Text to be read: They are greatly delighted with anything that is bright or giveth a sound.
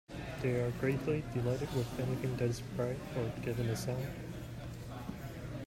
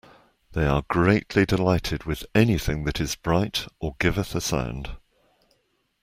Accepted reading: second